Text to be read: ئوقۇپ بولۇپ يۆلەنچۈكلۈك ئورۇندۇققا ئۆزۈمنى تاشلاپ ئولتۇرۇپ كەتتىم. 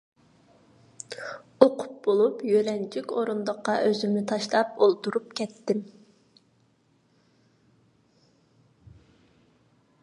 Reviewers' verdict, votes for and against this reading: rejected, 0, 2